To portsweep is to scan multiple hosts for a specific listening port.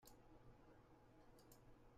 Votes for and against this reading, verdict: 0, 2, rejected